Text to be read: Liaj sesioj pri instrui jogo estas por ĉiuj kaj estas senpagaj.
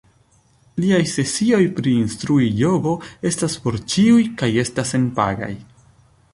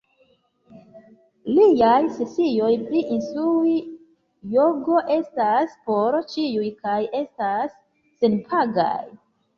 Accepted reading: first